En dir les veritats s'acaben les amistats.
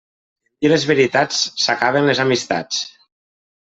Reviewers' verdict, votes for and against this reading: rejected, 1, 2